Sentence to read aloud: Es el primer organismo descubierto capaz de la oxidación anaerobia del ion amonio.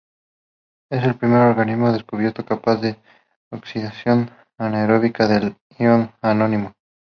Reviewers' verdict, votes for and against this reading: rejected, 0, 2